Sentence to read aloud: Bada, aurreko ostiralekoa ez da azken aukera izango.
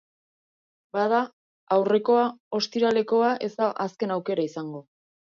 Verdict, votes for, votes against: rejected, 1, 2